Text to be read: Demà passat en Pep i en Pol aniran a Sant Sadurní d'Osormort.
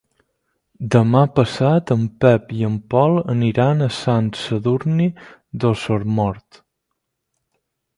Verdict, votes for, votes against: rejected, 2, 4